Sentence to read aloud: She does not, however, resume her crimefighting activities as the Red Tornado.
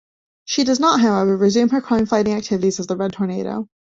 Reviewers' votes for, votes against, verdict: 0, 2, rejected